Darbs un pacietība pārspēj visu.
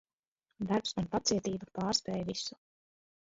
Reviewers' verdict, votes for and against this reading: rejected, 1, 2